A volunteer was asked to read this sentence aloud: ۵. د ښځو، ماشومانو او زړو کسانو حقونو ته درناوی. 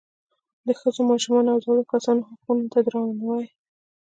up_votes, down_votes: 0, 2